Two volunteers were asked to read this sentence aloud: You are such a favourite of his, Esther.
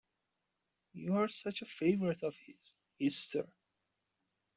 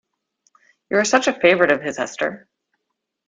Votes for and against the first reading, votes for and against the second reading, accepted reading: 0, 2, 2, 0, second